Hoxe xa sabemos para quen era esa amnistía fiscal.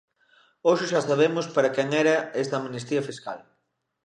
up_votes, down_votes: 0, 2